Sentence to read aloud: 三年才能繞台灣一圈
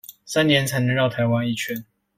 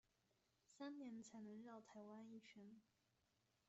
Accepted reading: first